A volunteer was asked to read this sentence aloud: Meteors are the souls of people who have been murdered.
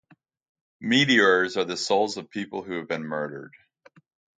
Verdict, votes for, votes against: accepted, 2, 0